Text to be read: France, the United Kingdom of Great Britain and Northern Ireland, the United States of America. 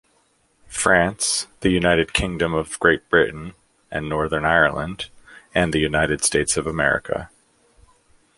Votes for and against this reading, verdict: 0, 2, rejected